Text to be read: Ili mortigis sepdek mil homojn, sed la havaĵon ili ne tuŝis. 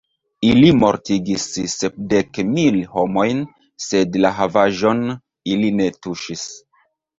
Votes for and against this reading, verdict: 2, 0, accepted